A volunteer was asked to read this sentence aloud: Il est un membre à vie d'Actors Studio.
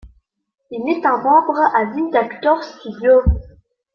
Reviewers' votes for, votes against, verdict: 2, 0, accepted